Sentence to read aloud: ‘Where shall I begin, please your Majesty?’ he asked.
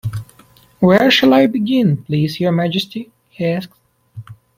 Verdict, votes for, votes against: accepted, 2, 0